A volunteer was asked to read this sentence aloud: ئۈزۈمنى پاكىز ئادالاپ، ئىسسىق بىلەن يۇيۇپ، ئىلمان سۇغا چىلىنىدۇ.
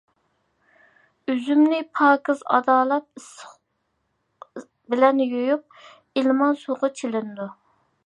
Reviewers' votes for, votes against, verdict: 0, 2, rejected